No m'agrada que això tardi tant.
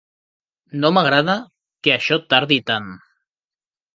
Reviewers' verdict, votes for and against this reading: accepted, 3, 0